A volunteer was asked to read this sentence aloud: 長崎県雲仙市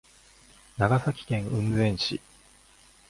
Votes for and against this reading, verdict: 2, 0, accepted